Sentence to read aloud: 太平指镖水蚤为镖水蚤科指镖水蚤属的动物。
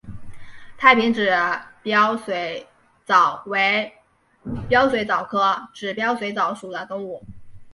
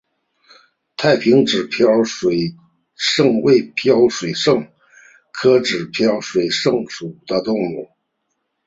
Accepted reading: second